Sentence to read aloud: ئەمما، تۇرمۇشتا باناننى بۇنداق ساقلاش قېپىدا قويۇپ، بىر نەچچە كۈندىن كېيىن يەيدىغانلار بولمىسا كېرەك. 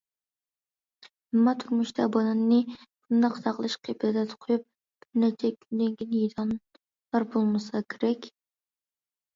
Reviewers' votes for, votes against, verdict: 0, 2, rejected